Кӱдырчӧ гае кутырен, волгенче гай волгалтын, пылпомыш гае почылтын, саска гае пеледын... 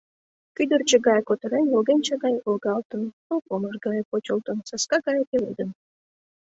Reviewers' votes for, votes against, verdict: 2, 0, accepted